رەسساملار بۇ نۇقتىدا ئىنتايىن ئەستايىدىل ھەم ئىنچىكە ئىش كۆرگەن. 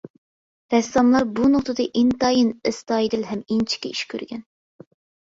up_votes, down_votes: 2, 0